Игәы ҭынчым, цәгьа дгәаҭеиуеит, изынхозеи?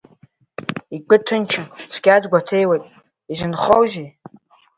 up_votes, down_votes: 0, 2